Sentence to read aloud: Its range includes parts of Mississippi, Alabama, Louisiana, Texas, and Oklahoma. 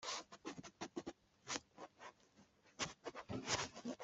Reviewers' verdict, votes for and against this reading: rejected, 0, 2